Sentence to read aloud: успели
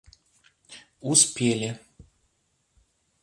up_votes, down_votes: 2, 0